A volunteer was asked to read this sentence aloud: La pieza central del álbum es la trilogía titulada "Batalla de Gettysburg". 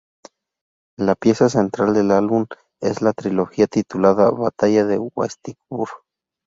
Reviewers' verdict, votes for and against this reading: rejected, 2, 2